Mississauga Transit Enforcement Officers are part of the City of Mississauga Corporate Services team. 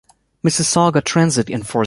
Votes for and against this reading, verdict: 0, 2, rejected